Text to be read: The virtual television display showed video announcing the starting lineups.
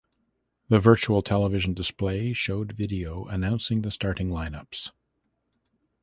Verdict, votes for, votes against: accepted, 2, 0